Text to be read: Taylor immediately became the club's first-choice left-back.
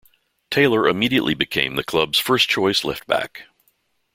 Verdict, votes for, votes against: accepted, 2, 0